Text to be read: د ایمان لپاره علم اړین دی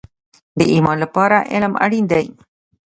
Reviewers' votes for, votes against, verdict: 1, 2, rejected